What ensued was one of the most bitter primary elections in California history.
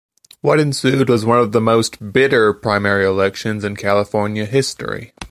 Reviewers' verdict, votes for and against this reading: accepted, 2, 0